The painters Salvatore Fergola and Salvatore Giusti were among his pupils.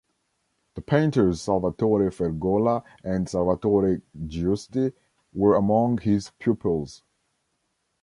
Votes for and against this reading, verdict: 0, 2, rejected